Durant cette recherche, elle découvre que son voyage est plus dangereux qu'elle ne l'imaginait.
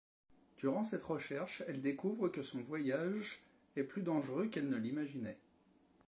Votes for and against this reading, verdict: 2, 1, accepted